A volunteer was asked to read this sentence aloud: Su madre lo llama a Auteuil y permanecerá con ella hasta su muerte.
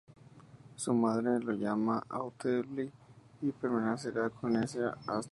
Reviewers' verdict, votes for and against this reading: rejected, 0, 2